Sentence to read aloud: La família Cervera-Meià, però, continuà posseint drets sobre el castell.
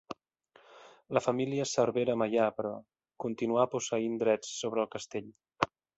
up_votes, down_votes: 2, 0